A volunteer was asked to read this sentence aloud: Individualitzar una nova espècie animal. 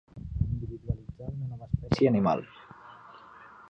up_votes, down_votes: 0, 2